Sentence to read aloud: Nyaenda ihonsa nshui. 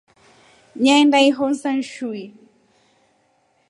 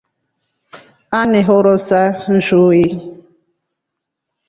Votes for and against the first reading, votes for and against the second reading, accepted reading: 2, 0, 1, 2, first